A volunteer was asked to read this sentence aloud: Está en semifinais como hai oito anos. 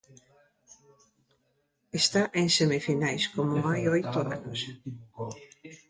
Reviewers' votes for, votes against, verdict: 1, 2, rejected